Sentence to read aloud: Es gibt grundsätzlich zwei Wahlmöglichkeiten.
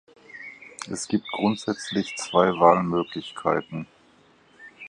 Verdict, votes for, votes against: accepted, 6, 0